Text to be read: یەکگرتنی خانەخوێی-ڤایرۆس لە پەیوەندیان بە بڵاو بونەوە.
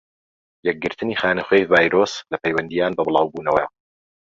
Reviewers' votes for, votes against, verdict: 2, 0, accepted